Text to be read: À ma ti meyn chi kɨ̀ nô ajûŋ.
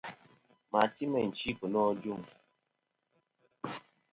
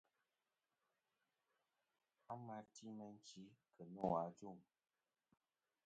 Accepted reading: first